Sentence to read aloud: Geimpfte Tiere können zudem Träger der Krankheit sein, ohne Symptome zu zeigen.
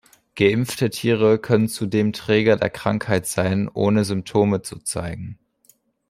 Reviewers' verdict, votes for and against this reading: accepted, 3, 0